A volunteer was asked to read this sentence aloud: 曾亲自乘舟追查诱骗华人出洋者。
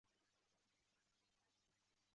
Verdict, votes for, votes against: rejected, 1, 4